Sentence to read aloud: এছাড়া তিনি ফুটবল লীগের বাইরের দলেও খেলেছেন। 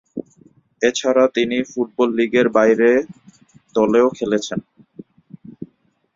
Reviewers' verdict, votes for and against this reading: rejected, 1, 2